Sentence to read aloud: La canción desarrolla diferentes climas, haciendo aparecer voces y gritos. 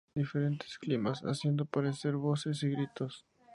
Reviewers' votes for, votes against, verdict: 0, 2, rejected